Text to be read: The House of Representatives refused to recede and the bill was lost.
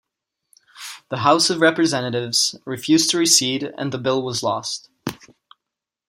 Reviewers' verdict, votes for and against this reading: accepted, 2, 0